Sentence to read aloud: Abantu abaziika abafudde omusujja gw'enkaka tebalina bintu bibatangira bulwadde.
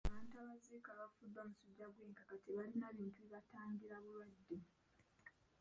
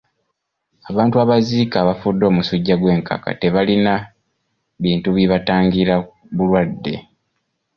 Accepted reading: second